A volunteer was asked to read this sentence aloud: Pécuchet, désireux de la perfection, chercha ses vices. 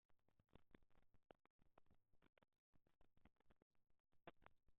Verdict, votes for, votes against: rejected, 0, 2